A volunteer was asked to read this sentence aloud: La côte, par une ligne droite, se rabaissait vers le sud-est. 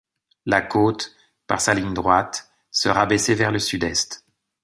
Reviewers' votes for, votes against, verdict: 2, 0, accepted